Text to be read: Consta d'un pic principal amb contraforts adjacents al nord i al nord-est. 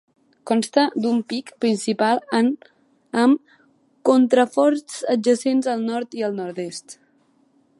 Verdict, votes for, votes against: rejected, 0, 2